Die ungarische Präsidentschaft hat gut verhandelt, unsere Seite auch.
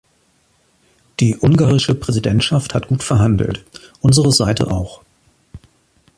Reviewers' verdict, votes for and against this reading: accepted, 2, 1